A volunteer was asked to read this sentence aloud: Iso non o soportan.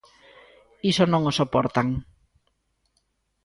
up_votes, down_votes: 2, 0